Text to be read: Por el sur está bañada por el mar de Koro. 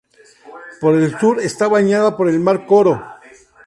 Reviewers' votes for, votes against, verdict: 2, 0, accepted